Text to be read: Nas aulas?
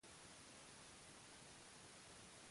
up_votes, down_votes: 0, 2